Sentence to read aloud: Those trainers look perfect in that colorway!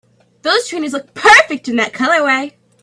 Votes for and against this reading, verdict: 2, 1, accepted